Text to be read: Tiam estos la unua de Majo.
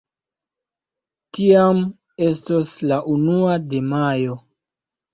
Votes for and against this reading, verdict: 3, 0, accepted